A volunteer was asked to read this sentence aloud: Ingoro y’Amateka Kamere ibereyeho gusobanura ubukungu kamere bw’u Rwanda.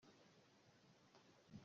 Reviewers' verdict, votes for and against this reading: rejected, 0, 2